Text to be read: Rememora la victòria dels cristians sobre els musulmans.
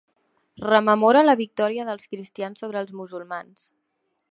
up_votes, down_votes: 2, 0